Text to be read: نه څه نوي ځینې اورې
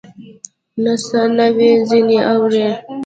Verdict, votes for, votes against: rejected, 0, 2